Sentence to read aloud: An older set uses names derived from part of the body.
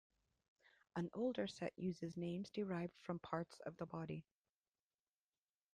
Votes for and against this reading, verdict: 1, 2, rejected